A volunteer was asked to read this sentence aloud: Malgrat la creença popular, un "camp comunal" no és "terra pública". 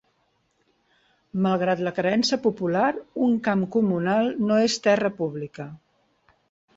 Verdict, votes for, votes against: accepted, 2, 0